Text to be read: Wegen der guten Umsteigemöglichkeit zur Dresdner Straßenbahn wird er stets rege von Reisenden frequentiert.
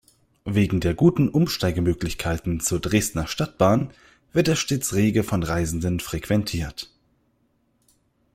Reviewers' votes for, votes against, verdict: 1, 2, rejected